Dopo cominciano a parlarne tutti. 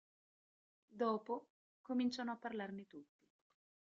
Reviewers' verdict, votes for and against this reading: rejected, 1, 2